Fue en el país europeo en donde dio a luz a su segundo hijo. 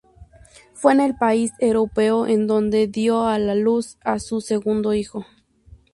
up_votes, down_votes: 0, 2